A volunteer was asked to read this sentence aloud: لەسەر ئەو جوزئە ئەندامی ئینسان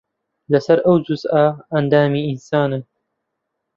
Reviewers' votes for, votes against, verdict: 0, 2, rejected